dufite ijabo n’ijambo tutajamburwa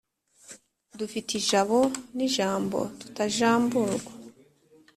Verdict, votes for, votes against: accepted, 3, 0